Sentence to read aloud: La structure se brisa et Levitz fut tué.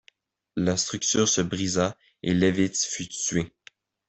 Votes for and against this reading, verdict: 2, 0, accepted